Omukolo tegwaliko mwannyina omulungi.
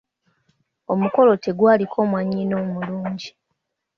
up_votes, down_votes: 2, 0